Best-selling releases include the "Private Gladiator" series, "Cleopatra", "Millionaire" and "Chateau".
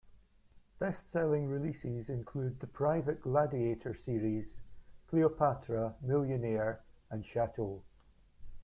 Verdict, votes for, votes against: accepted, 3, 0